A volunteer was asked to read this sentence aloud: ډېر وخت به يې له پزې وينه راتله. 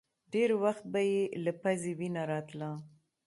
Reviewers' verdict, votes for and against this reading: rejected, 1, 2